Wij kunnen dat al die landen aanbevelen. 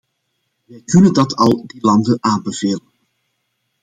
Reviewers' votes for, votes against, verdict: 0, 2, rejected